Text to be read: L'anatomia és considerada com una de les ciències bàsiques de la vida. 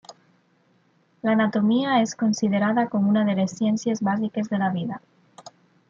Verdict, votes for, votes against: accepted, 3, 0